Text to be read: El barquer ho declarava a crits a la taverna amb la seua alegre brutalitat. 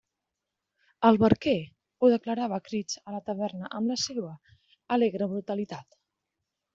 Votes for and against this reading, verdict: 1, 2, rejected